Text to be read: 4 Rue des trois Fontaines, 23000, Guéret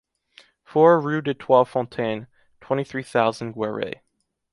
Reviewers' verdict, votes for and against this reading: rejected, 0, 2